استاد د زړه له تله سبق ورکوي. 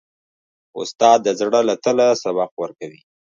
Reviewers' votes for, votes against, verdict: 3, 0, accepted